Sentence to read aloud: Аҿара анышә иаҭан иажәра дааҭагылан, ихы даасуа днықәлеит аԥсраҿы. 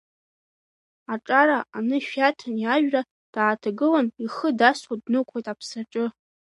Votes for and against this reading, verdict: 1, 2, rejected